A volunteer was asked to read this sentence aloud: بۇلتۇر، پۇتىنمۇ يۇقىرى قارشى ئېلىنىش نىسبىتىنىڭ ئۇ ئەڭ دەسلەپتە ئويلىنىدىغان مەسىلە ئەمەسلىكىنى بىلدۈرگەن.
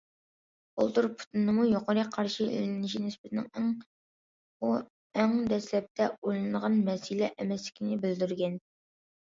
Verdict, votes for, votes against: rejected, 0, 2